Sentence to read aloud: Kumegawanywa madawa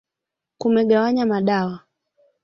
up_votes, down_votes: 3, 2